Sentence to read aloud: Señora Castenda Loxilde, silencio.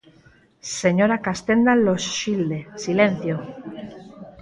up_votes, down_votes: 2, 4